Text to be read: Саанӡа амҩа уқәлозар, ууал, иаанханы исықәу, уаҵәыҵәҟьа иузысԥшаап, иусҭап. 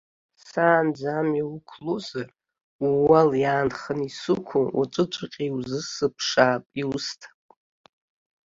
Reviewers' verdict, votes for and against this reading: accepted, 2, 0